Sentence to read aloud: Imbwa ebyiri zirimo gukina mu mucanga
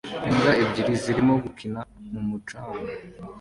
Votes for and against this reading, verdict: 2, 0, accepted